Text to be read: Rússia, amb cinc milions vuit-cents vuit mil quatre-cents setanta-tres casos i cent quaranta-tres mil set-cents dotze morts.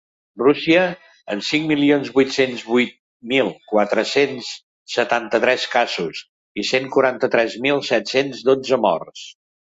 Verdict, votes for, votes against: accepted, 2, 0